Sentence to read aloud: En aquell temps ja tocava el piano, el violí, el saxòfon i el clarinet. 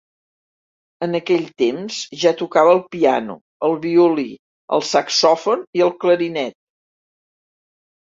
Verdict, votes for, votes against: rejected, 1, 2